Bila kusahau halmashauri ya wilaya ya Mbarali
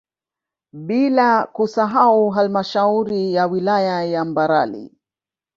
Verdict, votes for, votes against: accepted, 2, 1